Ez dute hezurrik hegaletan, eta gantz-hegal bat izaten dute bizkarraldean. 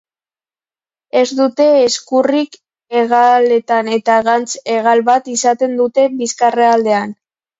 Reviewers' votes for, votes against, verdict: 0, 2, rejected